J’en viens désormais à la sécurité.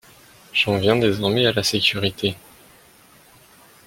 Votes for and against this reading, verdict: 2, 1, accepted